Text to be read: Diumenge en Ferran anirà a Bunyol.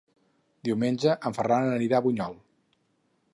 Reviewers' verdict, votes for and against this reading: accepted, 8, 0